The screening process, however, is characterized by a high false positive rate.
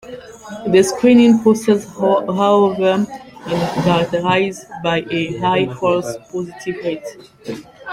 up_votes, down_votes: 0, 2